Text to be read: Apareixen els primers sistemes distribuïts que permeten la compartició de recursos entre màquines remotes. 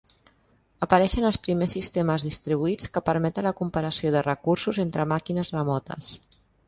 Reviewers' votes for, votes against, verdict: 2, 1, accepted